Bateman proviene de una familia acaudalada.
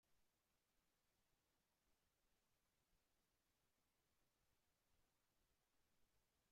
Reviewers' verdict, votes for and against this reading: rejected, 0, 2